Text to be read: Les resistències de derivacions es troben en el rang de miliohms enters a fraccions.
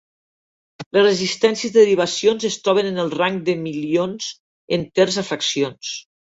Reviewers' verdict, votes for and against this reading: rejected, 0, 2